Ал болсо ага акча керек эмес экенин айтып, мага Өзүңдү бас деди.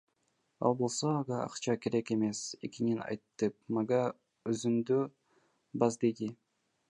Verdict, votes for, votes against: accepted, 2, 1